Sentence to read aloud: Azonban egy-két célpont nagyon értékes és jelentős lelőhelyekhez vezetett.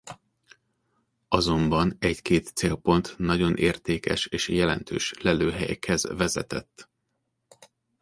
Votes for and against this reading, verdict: 2, 0, accepted